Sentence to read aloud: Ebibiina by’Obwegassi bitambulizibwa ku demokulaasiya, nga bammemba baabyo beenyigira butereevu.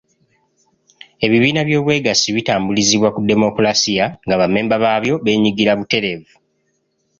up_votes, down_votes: 2, 0